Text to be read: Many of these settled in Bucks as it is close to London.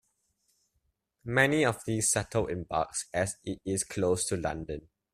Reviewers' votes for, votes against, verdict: 0, 2, rejected